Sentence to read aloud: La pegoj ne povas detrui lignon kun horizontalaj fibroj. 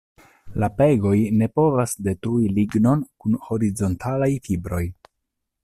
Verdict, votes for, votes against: accepted, 2, 0